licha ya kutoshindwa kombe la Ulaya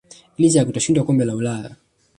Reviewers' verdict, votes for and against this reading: rejected, 1, 2